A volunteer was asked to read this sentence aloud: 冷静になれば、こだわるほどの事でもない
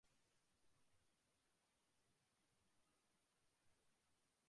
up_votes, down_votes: 0, 2